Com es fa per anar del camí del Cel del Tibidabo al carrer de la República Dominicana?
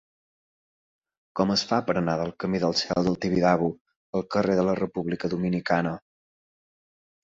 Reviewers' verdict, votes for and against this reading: accepted, 4, 0